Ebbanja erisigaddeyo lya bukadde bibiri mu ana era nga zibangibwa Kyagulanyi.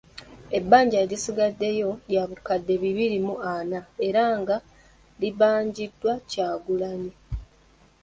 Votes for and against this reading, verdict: 0, 2, rejected